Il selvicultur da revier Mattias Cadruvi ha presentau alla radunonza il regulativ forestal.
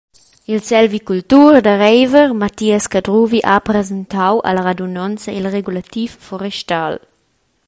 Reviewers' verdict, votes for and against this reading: rejected, 0, 2